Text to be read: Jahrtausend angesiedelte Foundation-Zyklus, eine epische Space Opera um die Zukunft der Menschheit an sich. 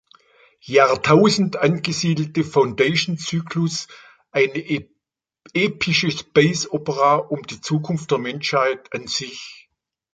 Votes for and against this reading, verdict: 0, 2, rejected